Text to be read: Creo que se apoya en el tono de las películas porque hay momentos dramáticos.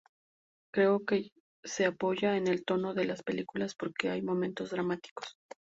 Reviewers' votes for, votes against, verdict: 6, 0, accepted